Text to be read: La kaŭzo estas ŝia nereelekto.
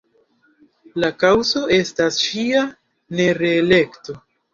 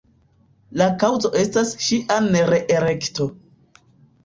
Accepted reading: first